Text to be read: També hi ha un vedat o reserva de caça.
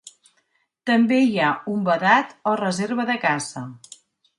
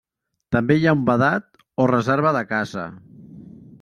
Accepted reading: first